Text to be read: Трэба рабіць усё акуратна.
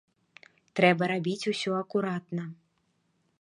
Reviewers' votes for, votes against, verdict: 2, 0, accepted